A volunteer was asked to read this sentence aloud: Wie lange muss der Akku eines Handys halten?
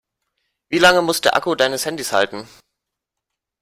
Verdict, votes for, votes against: rejected, 0, 2